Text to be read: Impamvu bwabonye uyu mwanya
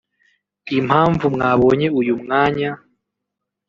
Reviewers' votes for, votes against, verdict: 1, 2, rejected